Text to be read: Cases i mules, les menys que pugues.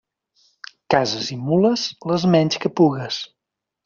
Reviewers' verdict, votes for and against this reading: accepted, 2, 0